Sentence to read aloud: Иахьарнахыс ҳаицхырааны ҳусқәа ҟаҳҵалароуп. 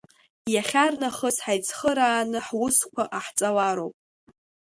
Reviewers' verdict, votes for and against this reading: accepted, 2, 0